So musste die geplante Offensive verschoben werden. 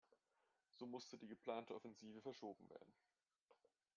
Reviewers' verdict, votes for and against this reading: accepted, 2, 0